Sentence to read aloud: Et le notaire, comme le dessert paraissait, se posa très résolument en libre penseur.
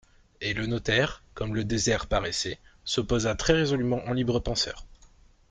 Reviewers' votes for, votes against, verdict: 0, 2, rejected